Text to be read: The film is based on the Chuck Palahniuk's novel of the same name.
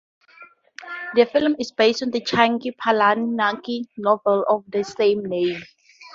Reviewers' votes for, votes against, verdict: 2, 0, accepted